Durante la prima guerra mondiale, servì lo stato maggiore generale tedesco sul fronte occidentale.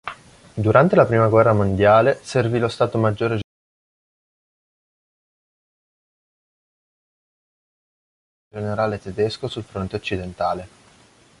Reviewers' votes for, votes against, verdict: 0, 2, rejected